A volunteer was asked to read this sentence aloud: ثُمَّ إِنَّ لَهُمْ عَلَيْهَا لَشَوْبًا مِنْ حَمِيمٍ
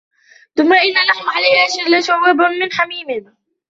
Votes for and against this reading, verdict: 0, 2, rejected